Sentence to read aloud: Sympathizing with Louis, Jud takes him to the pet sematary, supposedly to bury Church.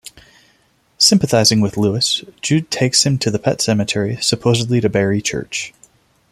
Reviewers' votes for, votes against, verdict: 2, 0, accepted